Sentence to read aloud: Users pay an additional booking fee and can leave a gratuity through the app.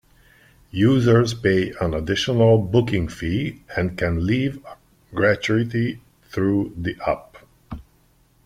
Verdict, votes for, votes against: accepted, 2, 1